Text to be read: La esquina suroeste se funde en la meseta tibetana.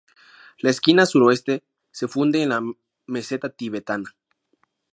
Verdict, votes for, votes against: accepted, 4, 0